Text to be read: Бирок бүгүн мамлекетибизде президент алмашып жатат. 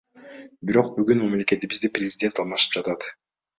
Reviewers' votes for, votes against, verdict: 2, 0, accepted